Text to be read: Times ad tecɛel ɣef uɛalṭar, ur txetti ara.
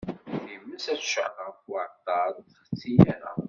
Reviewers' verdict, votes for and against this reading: rejected, 0, 2